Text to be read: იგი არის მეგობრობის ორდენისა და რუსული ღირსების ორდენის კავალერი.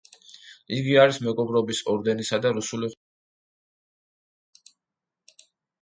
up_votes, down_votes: 0, 2